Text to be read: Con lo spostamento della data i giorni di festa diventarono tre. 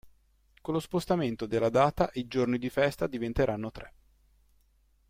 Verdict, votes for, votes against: rejected, 1, 2